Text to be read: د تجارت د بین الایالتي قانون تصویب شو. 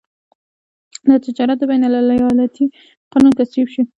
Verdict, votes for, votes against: accepted, 2, 0